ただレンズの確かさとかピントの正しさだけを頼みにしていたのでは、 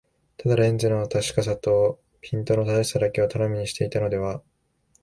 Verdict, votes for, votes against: accepted, 3, 1